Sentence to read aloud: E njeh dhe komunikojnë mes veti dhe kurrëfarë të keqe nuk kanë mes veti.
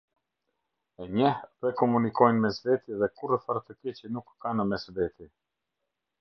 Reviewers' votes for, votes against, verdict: 2, 0, accepted